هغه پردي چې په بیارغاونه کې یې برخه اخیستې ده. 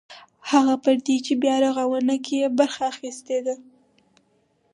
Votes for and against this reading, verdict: 4, 0, accepted